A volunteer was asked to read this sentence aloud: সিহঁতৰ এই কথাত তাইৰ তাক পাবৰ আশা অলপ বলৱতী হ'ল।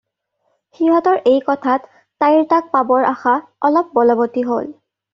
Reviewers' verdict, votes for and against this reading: accepted, 2, 0